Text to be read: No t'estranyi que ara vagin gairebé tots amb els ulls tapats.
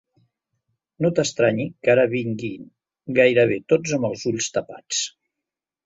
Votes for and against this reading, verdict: 0, 2, rejected